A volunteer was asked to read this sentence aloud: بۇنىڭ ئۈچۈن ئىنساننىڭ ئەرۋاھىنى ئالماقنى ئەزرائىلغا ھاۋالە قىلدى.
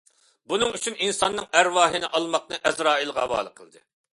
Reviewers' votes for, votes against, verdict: 2, 0, accepted